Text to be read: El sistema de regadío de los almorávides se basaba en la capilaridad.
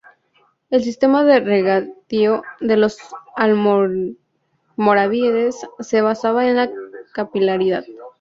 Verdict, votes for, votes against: rejected, 0, 2